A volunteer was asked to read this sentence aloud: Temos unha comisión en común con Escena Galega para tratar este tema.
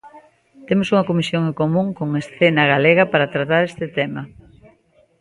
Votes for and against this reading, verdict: 0, 2, rejected